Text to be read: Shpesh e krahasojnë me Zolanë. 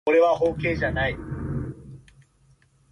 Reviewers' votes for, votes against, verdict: 0, 2, rejected